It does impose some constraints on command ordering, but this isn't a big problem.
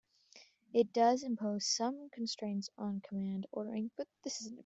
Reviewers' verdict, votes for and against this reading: rejected, 0, 2